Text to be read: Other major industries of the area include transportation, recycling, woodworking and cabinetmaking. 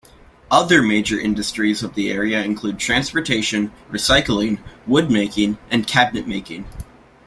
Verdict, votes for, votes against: rejected, 0, 2